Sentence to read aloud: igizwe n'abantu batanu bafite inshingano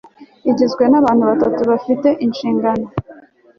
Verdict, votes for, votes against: accepted, 2, 0